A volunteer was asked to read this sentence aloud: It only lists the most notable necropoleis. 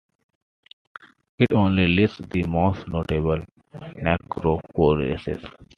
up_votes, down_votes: 2, 0